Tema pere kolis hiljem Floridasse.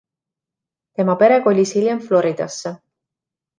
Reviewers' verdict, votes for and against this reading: accepted, 2, 0